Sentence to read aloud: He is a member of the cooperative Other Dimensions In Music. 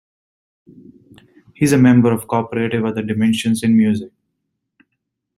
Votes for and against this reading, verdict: 1, 2, rejected